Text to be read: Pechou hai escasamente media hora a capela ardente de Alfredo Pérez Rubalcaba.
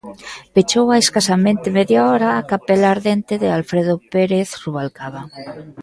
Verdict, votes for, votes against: rejected, 1, 2